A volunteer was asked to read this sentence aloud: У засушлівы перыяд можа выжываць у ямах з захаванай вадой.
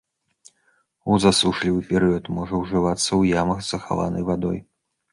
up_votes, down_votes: 1, 2